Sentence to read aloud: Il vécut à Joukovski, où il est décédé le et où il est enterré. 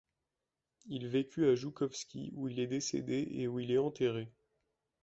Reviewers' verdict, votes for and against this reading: rejected, 0, 2